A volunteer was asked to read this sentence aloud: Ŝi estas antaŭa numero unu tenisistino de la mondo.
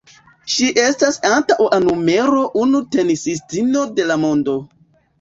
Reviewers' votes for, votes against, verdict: 2, 1, accepted